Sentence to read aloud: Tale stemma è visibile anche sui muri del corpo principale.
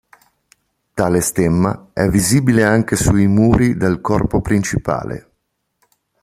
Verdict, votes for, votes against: accepted, 3, 0